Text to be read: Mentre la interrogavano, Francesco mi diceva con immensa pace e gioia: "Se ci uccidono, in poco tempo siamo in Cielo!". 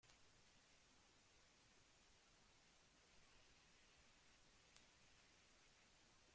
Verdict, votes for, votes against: rejected, 0, 2